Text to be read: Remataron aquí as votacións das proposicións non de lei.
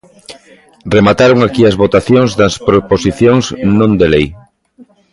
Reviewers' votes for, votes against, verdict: 1, 2, rejected